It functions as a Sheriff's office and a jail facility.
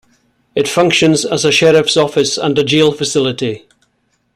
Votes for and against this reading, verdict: 2, 0, accepted